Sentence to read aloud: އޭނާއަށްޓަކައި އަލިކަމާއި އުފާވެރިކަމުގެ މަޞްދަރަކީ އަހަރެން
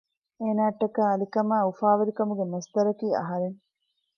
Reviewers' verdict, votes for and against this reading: rejected, 1, 2